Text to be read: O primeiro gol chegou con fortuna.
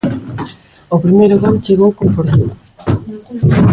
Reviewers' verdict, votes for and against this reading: rejected, 0, 2